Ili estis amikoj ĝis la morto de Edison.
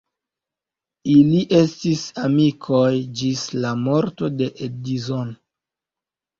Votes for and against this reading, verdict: 1, 2, rejected